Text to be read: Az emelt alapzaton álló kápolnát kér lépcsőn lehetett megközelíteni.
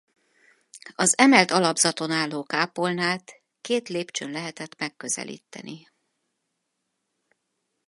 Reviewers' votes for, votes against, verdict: 0, 4, rejected